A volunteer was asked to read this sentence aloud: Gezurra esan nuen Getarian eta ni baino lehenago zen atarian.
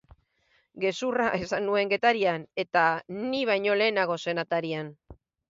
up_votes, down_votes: 4, 0